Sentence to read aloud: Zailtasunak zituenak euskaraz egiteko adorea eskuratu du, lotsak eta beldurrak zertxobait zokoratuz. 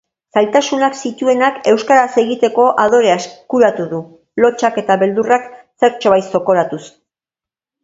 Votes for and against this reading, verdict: 3, 0, accepted